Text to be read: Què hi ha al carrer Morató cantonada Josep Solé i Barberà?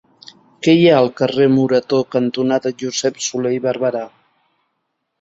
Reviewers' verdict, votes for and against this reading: accepted, 2, 0